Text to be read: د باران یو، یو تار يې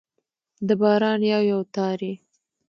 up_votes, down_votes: 2, 0